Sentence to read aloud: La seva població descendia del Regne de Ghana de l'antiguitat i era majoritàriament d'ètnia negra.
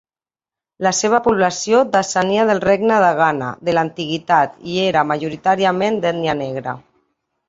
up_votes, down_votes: 1, 2